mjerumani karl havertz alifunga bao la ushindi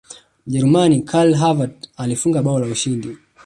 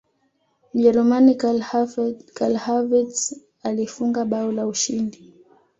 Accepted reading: first